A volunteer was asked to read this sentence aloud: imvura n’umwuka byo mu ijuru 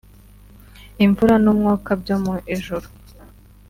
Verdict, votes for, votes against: rejected, 0, 2